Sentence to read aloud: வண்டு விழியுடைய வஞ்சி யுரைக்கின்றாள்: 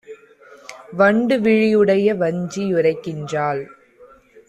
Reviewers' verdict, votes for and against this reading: accepted, 2, 0